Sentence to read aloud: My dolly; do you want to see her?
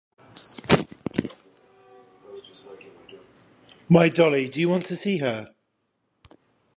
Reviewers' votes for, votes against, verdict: 10, 0, accepted